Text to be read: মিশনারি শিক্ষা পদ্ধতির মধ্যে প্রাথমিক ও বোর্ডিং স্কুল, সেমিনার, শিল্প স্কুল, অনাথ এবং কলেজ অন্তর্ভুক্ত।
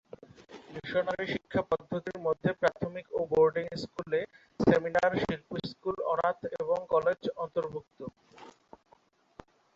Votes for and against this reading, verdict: 0, 3, rejected